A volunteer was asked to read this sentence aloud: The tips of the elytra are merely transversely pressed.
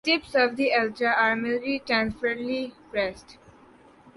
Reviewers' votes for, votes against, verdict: 0, 2, rejected